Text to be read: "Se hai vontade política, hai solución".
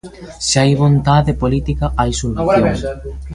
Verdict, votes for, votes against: rejected, 1, 2